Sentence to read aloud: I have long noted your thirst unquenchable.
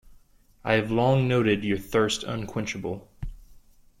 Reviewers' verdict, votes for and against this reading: accepted, 2, 0